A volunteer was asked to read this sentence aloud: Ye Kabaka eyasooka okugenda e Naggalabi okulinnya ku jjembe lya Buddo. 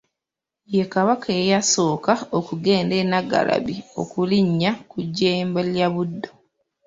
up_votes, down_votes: 0, 2